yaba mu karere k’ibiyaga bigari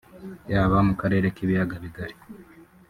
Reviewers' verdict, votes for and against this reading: rejected, 0, 2